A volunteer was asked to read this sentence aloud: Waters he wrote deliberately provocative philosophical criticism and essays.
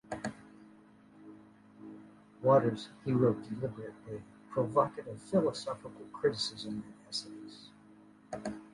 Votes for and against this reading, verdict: 1, 2, rejected